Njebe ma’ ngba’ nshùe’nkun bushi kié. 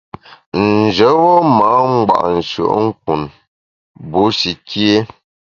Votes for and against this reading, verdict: 2, 0, accepted